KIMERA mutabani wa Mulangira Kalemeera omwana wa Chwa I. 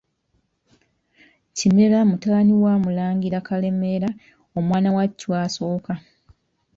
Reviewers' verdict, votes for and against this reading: rejected, 0, 2